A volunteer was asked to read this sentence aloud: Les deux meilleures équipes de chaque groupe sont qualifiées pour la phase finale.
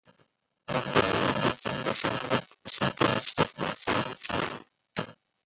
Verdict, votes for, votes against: rejected, 0, 2